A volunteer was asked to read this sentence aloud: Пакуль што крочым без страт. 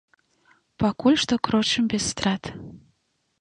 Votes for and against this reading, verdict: 2, 1, accepted